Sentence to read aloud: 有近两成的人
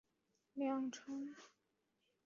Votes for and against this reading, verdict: 1, 2, rejected